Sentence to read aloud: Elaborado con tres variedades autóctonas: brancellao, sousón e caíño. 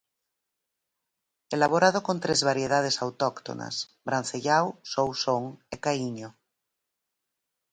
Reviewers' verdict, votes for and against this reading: accepted, 4, 0